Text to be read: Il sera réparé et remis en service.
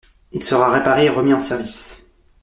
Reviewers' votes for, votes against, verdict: 2, 0, accepted